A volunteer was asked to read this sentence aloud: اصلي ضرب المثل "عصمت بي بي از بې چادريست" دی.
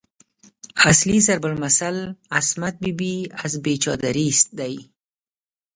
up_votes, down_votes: 0, 3